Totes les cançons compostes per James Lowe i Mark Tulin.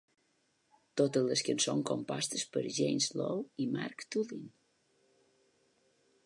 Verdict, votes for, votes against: accepted, 3, 0